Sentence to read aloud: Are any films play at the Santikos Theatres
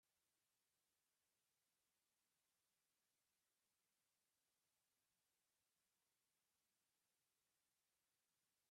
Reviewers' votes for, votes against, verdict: 0, 2, rejected